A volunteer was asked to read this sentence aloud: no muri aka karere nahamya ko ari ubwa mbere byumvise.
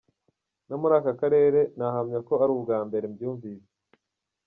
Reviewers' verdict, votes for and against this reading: rejected, 1, 2